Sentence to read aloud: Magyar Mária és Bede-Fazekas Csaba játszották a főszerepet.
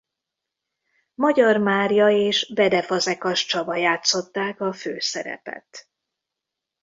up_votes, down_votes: 2, 0